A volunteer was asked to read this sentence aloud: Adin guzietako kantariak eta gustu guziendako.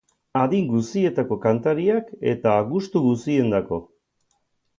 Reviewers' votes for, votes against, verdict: 6, 0, accepted